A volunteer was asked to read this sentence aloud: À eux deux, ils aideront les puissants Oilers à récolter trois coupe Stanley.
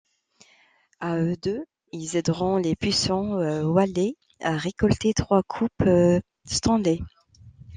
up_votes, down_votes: 0, 2